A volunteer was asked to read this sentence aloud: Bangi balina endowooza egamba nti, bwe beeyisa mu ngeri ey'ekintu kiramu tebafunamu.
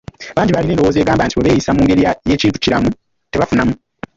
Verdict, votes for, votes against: rejected, 1, 2